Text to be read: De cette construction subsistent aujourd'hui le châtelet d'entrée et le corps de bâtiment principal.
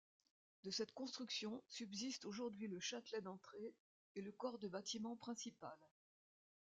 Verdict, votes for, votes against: rejected, 1, 2